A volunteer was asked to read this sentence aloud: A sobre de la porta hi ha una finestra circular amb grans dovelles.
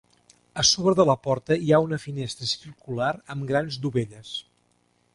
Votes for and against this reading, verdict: 2, 0, accepted